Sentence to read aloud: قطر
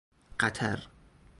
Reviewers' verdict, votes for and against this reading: rejected, 0, 2